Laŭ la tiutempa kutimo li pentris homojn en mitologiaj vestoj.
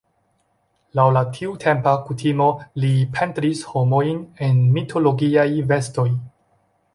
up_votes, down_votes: 2, 0